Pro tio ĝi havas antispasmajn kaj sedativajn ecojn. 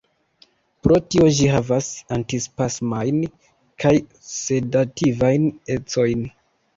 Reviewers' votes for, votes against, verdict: 1, 2, rejected